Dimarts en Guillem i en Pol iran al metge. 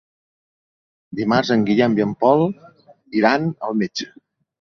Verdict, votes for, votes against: accepted, 3, 0